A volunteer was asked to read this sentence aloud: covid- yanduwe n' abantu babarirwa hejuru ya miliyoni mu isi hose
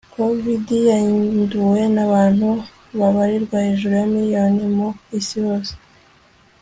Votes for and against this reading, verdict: 2, 0, accepted